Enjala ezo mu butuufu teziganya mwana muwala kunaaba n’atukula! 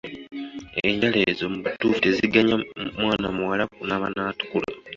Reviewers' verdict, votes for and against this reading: rejected, 1, 2